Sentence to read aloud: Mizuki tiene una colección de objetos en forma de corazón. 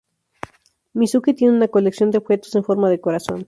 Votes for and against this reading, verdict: 2, 0, accepted